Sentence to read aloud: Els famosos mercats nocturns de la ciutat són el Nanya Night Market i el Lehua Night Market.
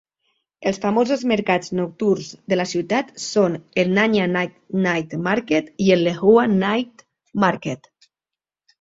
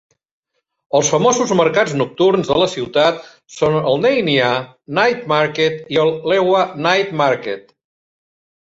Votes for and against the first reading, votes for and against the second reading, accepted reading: 1, 2, 2, 0, second